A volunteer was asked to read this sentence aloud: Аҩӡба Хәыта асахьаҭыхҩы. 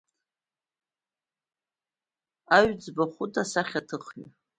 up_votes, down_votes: 2, 0